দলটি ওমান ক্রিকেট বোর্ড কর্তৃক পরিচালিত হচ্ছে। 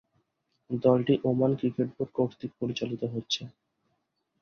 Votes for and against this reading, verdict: 2, 0, accepted